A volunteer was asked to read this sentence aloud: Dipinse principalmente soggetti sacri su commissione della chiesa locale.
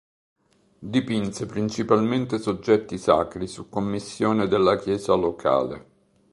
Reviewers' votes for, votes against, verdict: 2, 0, accepted